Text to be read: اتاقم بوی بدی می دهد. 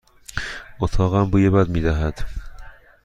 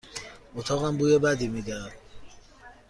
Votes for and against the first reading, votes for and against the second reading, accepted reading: 1, 2, 2, 0, second